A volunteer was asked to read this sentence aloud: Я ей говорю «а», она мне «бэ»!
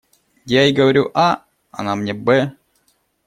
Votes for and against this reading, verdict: 2, 0, accepted